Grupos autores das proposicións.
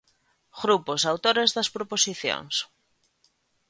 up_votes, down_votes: 2, 1